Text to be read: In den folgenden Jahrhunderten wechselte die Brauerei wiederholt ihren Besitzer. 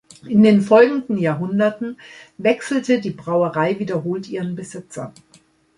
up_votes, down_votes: 2, 0